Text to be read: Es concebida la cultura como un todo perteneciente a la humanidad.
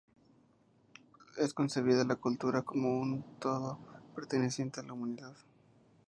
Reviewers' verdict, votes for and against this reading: accepted, 2, 0